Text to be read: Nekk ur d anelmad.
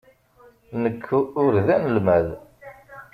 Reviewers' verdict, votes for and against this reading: rejected, 0, 2